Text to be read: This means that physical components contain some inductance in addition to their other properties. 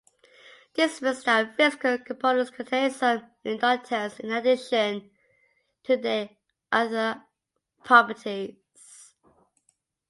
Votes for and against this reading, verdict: 0, 2, rejected